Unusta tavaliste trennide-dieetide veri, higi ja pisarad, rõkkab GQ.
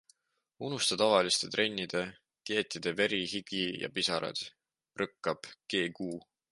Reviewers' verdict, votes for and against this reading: accepted, 2, 0